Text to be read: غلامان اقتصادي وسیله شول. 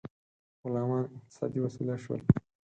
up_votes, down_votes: 4, 2